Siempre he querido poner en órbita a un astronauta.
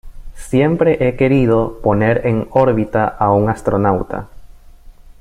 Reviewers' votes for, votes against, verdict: 2, 1, accepted